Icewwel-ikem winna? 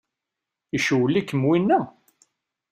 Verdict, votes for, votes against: accepted, 2, 0